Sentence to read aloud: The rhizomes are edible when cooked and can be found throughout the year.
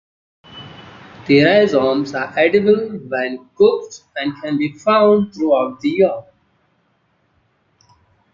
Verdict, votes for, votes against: rejected, 1, 2